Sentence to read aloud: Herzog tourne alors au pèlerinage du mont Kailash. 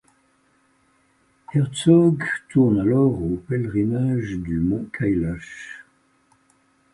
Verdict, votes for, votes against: rejected, 1, 2